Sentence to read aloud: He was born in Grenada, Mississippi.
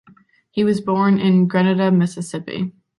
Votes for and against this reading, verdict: 2, 0, accepted